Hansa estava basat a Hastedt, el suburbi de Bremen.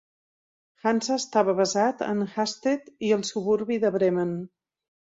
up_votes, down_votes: 1, 2